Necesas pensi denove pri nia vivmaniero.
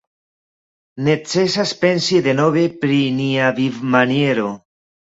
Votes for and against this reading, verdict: 2, 0, accepted